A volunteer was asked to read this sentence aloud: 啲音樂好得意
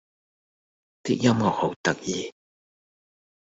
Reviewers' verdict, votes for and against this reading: rejected, 0, 2